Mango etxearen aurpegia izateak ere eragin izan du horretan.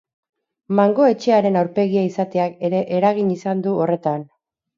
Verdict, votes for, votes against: accepted, 4, 0